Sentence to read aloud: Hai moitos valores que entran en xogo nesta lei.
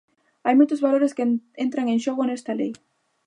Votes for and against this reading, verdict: 0, 2, rejected